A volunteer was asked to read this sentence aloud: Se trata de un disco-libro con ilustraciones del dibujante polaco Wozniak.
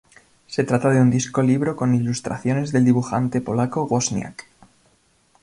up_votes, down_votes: 2, 0